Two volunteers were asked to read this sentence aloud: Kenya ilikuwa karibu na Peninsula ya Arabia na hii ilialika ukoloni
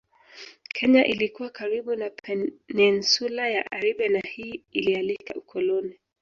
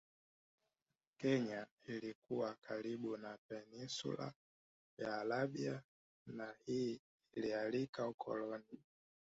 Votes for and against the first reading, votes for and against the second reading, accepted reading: 1, 2, 3, 2, second